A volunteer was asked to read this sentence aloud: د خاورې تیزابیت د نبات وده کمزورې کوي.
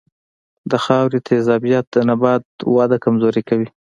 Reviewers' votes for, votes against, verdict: 2, 0, accepted